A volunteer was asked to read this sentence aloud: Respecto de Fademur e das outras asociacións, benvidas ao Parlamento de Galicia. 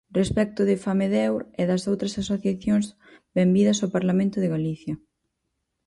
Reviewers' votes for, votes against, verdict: 2, 4, rejected